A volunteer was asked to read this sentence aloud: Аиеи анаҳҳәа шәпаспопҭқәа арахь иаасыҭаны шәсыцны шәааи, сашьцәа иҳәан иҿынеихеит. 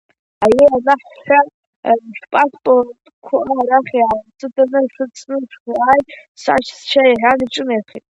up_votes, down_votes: 0, 2